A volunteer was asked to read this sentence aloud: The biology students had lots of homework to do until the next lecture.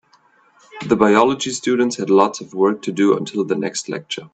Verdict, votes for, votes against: rejected, 1, 2